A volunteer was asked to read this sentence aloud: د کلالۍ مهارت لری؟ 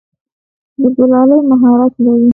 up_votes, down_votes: 0, 2